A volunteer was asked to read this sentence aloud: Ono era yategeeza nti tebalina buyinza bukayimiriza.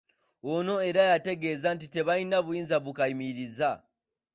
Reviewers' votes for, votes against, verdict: 2, 0, accepted